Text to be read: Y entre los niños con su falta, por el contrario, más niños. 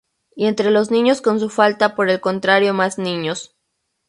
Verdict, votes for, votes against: rejected, 2, 2